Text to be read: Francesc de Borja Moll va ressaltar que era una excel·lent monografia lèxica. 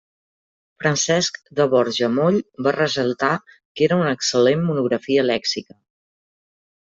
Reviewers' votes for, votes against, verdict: 0, 2, rejected